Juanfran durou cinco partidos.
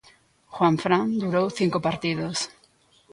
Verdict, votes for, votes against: rejected, 1, 2